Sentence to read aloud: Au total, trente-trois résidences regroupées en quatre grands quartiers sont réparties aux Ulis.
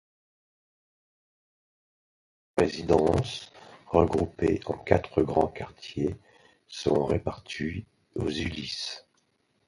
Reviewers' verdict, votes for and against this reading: rejected, 0, 2